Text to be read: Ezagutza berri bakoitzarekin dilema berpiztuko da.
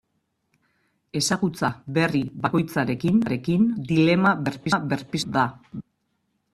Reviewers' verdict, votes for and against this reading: rejected, 0, 2